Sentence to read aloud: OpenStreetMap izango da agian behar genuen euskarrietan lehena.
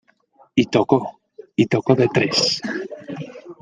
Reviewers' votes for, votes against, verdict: 0, 2, rejected